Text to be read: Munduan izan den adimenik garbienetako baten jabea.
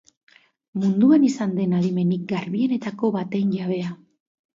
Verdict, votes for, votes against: accepted, 2, 0